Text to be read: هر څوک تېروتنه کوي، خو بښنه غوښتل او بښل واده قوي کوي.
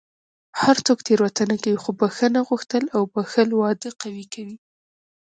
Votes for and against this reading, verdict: 1, 2, rejected